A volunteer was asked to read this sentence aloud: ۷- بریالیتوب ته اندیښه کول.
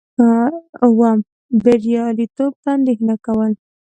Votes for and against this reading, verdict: 0, 2, rejected